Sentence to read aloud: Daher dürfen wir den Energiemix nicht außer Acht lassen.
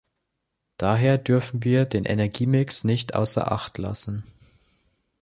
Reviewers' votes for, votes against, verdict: 2, 0, accepted